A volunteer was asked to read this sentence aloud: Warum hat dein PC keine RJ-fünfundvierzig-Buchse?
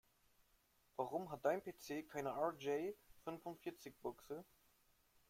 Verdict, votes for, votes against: rejected, 2, 3